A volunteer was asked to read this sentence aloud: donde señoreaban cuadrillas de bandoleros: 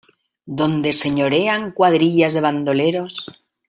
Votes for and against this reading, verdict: 0, 2, rejected